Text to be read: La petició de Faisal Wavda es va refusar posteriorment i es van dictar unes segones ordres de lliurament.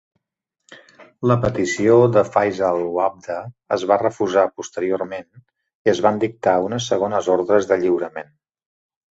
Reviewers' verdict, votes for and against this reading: accepted, 2, 0